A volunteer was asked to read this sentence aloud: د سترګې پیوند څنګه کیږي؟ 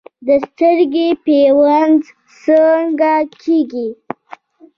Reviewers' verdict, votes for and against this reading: accepted, 2, 0